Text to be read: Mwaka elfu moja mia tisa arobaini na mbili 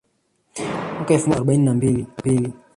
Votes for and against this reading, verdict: 1, 2, rejected